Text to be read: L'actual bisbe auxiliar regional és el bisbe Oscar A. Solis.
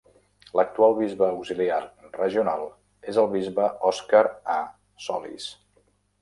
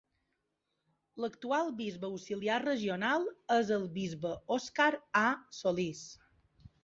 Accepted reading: second